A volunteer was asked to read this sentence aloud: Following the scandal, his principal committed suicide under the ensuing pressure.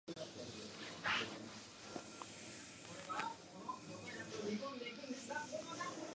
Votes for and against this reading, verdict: 0, 2, rejected